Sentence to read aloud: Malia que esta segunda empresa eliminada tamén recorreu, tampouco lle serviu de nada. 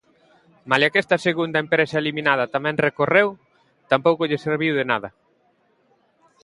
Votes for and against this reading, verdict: 2, 0, accepted